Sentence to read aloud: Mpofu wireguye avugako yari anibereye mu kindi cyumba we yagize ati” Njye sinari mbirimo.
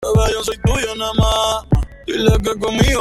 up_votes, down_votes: 0, 2